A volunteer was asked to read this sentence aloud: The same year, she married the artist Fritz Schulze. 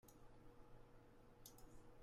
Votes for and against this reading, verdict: 0, 3, rejected